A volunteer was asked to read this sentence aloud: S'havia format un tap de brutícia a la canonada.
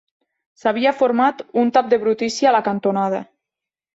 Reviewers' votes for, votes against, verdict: 0, 2, rejected